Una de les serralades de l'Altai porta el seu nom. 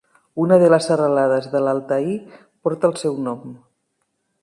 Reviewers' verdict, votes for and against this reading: rejected, 0, 2